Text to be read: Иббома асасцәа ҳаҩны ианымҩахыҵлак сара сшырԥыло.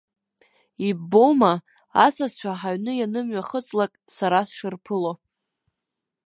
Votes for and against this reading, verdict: 2, 0, accepted